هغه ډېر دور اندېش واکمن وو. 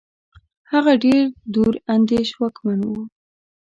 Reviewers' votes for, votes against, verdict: 2, 0, accepted